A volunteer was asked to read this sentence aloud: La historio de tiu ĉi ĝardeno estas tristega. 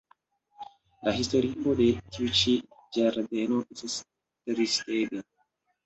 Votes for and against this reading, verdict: 1, 2, rejected